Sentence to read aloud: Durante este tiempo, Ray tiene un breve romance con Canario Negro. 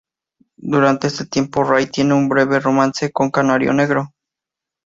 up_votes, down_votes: 4, 0